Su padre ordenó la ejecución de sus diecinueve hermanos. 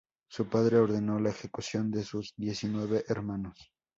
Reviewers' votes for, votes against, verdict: 2, 0, accepted